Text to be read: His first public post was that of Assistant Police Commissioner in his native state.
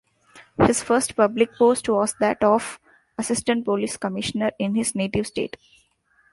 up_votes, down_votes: 2, 0